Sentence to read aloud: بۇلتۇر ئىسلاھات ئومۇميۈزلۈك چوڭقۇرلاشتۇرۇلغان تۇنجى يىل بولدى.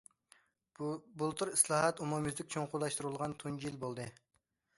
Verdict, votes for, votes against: accepted, 2, 1